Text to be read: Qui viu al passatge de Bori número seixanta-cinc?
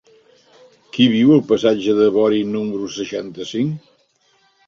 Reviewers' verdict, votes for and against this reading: accepted, 3, 0